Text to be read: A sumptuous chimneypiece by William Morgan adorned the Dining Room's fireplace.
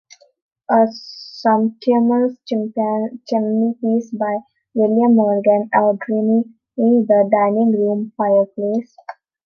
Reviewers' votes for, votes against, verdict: 0, 2, rejected